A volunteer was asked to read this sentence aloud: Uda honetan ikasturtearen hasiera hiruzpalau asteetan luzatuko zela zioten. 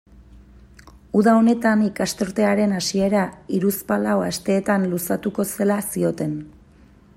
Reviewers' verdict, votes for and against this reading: accepted, 2, 0